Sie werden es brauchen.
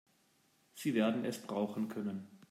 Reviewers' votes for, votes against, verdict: 0, 2, rejected